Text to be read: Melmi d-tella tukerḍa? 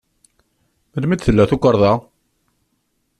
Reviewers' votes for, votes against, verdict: 2, 0, accepted